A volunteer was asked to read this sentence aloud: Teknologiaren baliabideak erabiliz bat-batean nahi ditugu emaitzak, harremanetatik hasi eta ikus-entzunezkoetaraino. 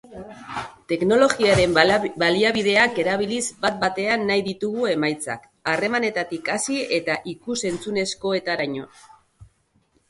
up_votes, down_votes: 0, 2